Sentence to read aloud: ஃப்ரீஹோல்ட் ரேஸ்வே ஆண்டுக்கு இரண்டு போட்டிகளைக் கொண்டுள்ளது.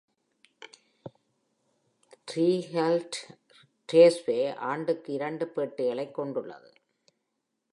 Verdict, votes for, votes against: rejected, 0, 2